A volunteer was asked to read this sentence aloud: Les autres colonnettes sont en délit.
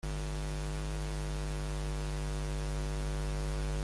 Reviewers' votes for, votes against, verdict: 0, 2, rejected